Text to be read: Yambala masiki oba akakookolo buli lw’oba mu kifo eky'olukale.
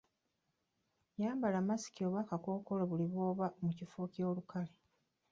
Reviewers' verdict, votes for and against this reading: rejected, 0, 2